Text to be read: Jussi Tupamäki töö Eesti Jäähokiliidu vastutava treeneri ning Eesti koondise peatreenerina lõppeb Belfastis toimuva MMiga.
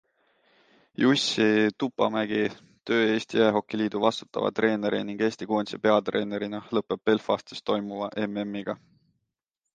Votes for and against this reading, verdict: 2, 0, accepted